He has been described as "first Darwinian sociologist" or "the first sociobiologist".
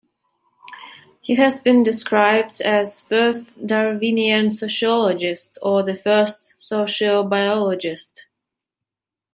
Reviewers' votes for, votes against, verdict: 2, 0, accepted